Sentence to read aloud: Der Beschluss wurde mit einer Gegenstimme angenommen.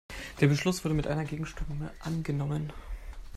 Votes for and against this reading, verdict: 0, 2, rejected